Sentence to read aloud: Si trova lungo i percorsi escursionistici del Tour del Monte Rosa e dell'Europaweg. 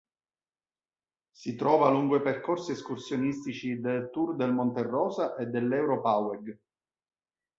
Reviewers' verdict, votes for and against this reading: accepted, 2, 0